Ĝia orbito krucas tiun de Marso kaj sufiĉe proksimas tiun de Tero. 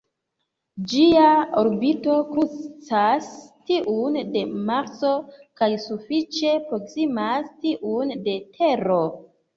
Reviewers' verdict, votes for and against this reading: rejected, 0, 2